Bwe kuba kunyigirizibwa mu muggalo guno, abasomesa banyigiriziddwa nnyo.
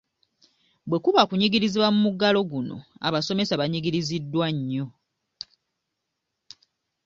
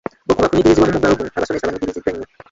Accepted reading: first